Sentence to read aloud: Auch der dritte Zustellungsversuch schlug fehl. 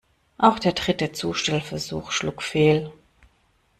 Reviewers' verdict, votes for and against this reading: rejected, 0, 2